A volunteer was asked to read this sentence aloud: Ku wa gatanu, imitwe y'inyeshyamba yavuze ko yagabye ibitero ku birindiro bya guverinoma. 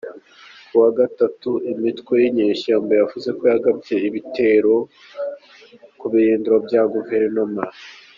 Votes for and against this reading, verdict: 2, 0, accepted